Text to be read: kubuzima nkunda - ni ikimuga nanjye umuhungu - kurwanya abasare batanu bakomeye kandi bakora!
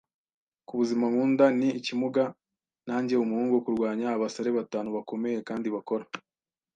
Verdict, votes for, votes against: accepted, 2, 0